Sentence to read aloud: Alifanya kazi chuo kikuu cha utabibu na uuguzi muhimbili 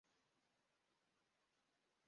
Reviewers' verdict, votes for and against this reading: rejected, 1, 2